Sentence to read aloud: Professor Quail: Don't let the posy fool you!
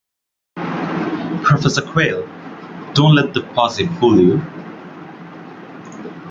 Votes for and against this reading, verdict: 2, 1, accepted